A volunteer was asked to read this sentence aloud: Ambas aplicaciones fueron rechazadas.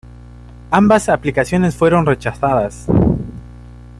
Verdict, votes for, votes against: rejected, 1, 2